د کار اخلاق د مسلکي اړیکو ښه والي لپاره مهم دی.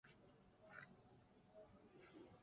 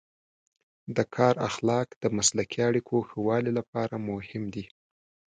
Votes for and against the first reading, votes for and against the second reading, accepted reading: 0, 2, 2, 0, second